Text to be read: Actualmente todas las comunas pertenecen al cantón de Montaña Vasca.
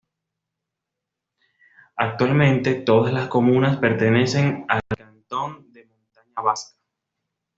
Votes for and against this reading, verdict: 1, 2, rejected